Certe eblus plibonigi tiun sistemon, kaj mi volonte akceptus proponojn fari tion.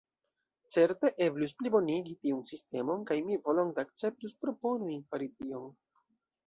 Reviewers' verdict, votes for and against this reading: rejected, 1, 2